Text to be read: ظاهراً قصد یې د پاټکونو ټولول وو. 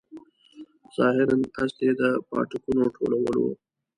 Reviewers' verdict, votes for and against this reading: rejected, 1, 2